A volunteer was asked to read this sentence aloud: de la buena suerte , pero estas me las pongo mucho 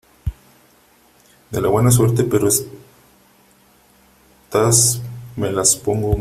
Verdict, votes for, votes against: rejected, 0, 3